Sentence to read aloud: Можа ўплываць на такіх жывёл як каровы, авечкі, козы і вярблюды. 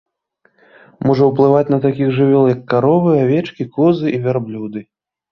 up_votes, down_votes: 2, 0